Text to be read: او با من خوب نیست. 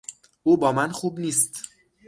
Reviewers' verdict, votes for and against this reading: accepted, 6, 0